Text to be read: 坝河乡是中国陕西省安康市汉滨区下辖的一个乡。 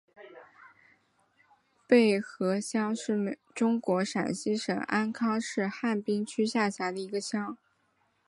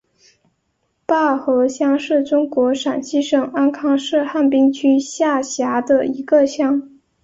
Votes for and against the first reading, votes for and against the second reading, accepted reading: 1, 2, 2, 0, second